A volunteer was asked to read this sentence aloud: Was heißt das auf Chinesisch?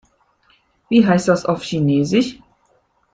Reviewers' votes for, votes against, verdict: 1, 2, rejected